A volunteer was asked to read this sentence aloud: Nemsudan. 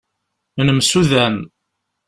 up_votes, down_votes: 2, 0